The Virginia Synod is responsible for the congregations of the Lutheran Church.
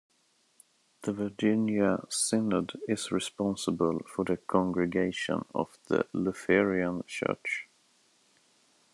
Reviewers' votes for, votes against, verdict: 1, 2, rejected